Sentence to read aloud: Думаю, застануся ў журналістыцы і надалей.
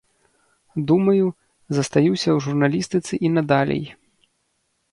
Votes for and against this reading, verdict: 0, 2, rejected